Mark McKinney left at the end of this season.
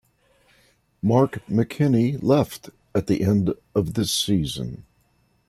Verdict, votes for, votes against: accepted, 2, 0